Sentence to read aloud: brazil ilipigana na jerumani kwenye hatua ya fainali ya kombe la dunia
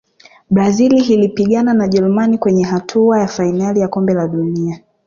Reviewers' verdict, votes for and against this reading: accepted, 3, 0